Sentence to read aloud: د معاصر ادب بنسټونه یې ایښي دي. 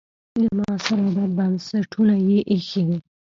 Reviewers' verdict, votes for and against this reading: rejected, 1, 2